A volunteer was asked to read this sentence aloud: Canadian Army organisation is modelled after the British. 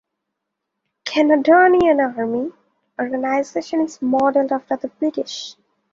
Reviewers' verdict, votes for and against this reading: rejected, 0, 2